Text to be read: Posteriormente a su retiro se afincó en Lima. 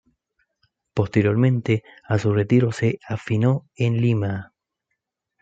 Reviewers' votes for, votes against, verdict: 0, 2, rejected